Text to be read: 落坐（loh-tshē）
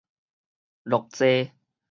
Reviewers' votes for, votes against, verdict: 4, 0, accepted